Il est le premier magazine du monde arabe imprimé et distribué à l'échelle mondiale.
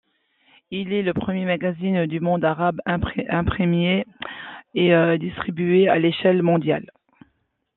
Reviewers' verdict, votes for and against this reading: rejected, 0, 2